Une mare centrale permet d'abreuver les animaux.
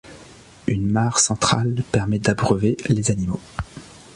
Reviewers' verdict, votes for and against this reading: accepted, 2, 0